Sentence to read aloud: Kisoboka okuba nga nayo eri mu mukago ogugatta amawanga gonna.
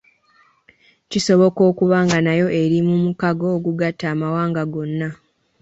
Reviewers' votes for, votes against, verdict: 3, 0, accepted